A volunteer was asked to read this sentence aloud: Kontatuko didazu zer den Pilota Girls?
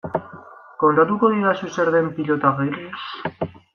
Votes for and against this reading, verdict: 1, 2, rejected